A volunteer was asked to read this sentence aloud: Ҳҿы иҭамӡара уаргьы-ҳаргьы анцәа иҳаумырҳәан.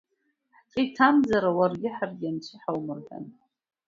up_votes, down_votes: 0, 2